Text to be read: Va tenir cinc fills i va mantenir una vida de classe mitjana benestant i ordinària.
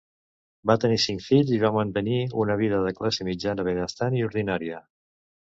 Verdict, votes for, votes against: accepted, 2, 0